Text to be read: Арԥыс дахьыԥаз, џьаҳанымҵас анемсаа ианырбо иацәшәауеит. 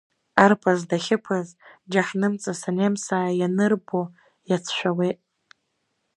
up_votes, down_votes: 0, 2